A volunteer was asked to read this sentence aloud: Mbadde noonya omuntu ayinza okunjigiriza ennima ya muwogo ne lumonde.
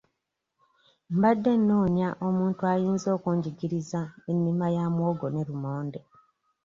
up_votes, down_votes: 2, 0